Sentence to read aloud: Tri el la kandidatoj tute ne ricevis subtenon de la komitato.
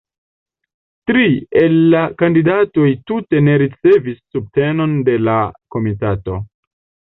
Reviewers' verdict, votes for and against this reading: rejected, 0, 2